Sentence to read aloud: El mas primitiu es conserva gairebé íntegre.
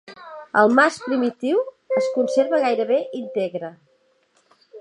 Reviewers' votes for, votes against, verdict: 1, 2, rejected